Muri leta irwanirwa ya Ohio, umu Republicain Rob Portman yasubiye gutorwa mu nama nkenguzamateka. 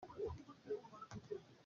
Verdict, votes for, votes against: rejected, 0, 2